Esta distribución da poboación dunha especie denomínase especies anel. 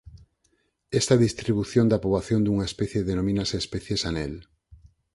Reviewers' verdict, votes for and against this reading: accepted, 4, 2